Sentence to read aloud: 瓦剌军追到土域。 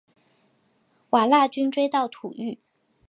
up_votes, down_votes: 9, 0